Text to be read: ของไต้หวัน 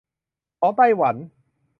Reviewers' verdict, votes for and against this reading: accepted, 2, 0